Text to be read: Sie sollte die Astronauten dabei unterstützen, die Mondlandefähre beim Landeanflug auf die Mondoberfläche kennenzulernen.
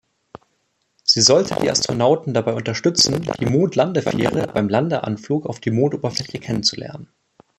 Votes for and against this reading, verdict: 0, 2, rejected